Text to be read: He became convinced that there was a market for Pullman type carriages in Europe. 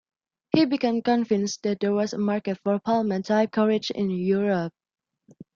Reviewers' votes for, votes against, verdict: 2, 0, accepted